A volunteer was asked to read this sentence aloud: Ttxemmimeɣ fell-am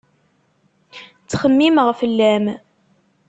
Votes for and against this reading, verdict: 2, 0, accepted